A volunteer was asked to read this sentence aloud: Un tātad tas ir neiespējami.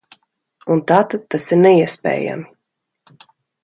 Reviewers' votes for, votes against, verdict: 2, 0, accepted